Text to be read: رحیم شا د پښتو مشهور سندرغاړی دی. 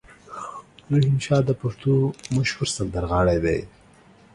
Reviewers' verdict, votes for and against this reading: rejected, 1, 2